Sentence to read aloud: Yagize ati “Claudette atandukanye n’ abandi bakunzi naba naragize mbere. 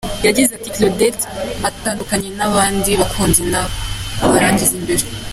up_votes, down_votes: 2, 0